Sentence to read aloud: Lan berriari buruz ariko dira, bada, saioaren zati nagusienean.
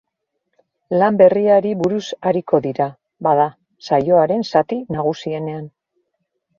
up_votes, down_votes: 2, 0